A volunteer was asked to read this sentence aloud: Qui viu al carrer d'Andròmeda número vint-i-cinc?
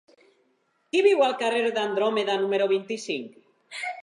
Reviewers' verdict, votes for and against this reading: accepted, 6, 0